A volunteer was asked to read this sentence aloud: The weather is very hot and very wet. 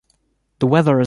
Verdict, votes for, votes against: rejected, 0, 2